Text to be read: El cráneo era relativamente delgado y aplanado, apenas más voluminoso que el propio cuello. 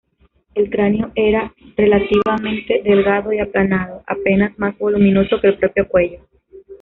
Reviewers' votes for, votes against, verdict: 0, 2, rejected